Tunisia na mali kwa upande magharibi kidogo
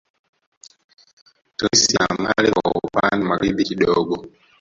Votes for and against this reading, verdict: 0, 2, rejected